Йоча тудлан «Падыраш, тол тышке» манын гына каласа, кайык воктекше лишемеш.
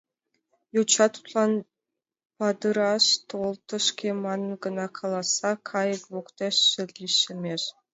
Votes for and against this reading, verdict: 0, 2, rejected